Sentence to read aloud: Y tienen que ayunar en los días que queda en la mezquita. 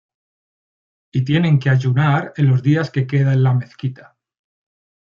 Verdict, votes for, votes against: accepted, 2, 0